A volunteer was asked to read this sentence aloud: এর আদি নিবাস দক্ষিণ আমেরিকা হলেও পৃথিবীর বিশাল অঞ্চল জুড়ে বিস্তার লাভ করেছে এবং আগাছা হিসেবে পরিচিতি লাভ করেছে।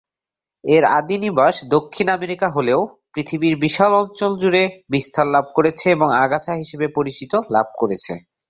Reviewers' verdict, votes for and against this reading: accepted, 2, 0